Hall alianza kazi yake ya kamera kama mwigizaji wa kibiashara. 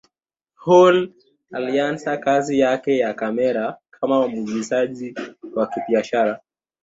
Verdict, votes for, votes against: accepted, 2, 0